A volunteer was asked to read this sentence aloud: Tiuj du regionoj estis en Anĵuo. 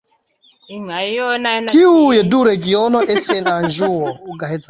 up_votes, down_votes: 2, 1